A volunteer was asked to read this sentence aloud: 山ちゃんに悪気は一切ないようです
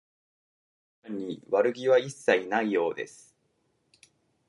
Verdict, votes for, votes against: rejected, 0, 2